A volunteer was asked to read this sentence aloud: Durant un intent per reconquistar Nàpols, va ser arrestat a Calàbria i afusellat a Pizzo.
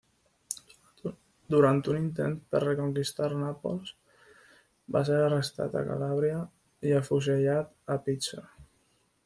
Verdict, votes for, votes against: accepted, 2, 1